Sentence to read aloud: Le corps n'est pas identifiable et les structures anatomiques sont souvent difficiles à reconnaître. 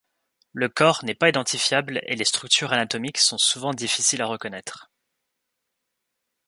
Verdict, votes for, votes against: accepted, 2, 0